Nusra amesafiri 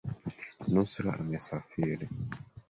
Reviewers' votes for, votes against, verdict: 3, 1, accepted